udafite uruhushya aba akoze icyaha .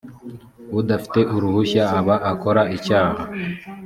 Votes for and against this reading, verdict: 0, 2, rejected